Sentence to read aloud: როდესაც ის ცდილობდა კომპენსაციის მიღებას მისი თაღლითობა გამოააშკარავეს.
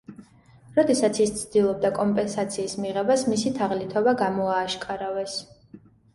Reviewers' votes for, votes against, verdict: 2, 0, accepted